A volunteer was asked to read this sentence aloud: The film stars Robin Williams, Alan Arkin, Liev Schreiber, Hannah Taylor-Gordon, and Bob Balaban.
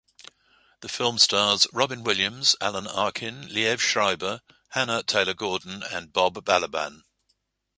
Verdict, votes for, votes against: accepted, 2, 0